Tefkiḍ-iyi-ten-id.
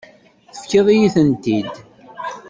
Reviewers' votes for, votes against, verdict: 1, 2, rejected